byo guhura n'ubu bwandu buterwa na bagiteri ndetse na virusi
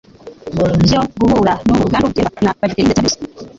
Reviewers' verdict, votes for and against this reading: rejected, 0, 2